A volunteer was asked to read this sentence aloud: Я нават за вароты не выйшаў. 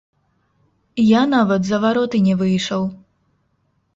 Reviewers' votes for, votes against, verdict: 0, 2, rejected